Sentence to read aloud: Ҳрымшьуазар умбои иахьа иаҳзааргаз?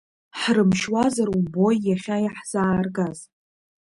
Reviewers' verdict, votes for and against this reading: accepted, 2, 0